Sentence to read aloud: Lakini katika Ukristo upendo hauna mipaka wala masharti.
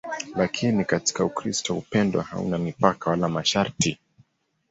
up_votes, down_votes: 2, 0